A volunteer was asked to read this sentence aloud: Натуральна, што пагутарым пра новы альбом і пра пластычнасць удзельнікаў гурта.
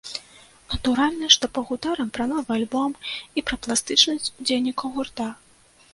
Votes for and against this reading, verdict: 2, 1, accepted